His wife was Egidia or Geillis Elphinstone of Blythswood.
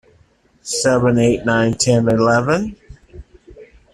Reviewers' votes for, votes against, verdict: 0, 2, rejected